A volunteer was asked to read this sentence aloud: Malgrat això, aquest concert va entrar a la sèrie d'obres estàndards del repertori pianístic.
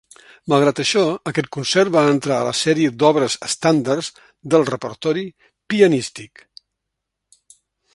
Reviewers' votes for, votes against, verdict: 3, 0, accepted